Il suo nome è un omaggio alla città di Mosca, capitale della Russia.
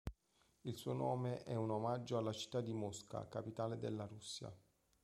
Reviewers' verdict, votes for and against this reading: accepted, 2, 0